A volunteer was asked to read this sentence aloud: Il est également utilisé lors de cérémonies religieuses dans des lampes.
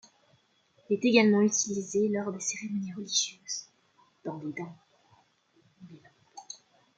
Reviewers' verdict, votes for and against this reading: rejected, 0, 2